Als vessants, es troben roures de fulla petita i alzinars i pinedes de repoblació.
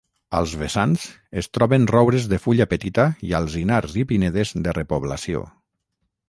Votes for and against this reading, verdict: 6, 0, accepted